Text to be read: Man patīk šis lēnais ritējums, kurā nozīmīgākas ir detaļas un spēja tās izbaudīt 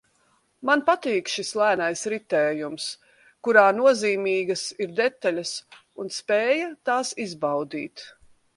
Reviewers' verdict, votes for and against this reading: rejected, 0, 2